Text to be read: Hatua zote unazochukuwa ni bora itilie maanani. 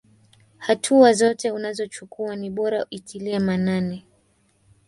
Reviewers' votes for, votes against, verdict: 2, 1, accepted